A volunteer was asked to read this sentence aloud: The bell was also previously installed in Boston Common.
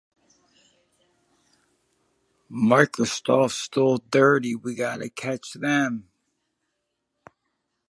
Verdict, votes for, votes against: rejected, 0, 2